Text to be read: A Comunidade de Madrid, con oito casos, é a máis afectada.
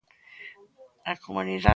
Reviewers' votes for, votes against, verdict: 0, 2, rejected